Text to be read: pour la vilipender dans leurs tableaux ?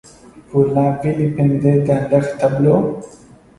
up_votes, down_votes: 0, 2